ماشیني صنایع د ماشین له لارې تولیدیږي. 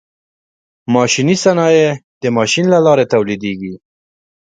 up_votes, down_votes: 3, 0